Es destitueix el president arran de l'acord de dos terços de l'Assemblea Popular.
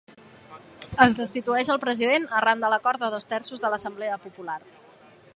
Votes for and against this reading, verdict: 2, 0, accepted